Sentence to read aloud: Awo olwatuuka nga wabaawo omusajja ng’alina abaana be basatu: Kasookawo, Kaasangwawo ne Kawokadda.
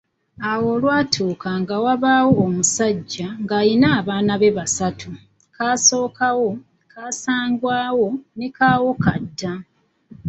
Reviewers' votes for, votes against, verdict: 2, 1, accepted